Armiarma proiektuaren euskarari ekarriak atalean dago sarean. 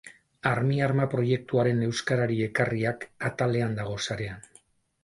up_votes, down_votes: 4, 0